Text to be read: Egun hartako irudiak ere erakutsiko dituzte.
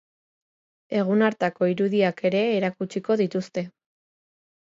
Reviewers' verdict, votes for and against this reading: accepted, 4, 0